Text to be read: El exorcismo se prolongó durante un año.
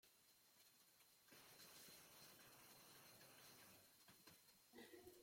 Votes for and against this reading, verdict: 0, 2, rejected